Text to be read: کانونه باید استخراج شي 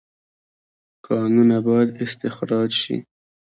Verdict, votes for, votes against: accepted, 2, 0